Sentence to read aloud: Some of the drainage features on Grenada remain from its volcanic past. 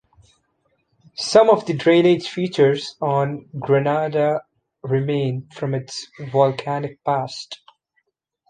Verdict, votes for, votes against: accepted, 2, 0